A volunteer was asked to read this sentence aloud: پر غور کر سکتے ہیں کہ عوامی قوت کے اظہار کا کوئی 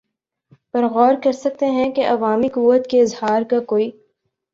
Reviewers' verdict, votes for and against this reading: accepted, 2, 0